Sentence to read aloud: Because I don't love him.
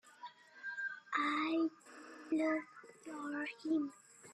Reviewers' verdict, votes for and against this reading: rejected, 0, 4